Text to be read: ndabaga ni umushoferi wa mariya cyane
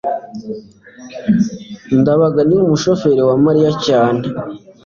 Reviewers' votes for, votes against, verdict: 2, 0, accepted